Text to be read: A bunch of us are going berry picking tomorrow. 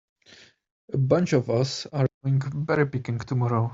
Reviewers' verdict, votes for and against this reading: rejected, 0, 2